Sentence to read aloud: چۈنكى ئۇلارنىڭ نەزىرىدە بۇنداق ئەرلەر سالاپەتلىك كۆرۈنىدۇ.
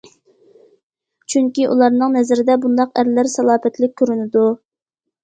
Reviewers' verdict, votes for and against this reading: accepted, 2, 0